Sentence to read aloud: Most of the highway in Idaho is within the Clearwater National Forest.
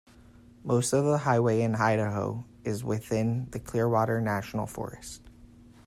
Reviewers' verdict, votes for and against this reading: accepted, 2, 0